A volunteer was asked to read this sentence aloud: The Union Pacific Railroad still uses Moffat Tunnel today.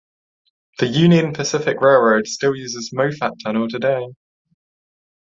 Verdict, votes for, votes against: accepted, 2, 0